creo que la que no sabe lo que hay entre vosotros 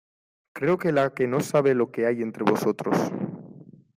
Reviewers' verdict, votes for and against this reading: accepted, 2, 0